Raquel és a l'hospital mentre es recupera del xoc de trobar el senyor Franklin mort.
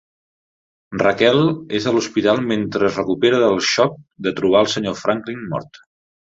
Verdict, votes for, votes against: accepted, 2, 0